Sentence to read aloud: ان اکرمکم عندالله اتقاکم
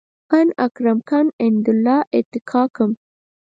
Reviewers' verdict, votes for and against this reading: rejected, 0, 4